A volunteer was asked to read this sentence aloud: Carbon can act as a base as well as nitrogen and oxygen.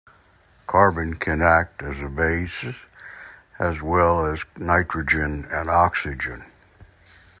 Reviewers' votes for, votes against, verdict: 2, 0, accepted